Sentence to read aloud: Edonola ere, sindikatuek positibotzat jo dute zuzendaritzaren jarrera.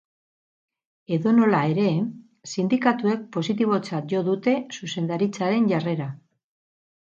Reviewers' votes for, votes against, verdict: 6, 0, accepted